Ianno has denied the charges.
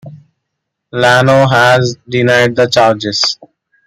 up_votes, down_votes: 2, 0